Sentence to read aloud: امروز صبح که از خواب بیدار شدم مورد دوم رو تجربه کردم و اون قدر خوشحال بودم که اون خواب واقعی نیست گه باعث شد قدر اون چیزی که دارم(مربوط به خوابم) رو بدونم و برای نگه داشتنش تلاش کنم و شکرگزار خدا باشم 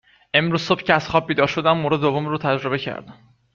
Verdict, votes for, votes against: rejected, 0, 2